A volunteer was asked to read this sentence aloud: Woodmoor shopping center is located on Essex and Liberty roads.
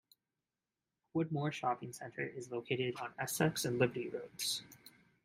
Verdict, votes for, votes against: rejected, 1, 2